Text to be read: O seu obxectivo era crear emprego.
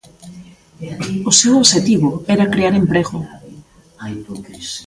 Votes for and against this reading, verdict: 0, 3, rejected